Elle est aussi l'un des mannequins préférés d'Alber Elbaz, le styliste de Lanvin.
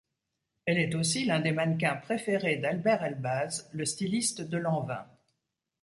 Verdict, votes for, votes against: accepted, 2, 0